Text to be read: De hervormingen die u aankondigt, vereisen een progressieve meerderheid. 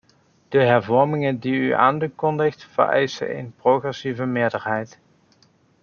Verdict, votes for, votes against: rejected, 0, 2